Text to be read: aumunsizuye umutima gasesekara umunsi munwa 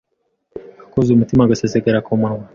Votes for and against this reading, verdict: 1, 2, rejected